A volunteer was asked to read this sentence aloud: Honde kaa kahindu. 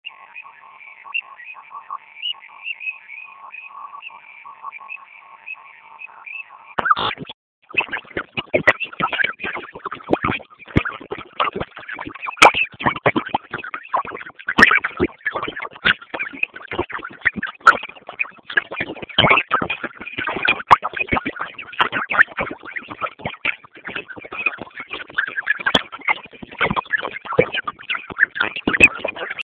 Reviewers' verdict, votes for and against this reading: rejected, 0, 4